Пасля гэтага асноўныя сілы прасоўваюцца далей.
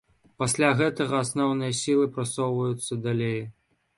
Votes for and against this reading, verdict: 2, 0, accepted